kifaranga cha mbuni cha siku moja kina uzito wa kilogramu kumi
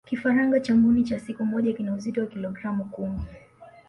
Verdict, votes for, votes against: accepted, 2, 0